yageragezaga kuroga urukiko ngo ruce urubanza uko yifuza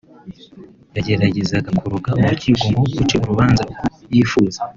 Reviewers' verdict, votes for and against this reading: accepted, 2, 1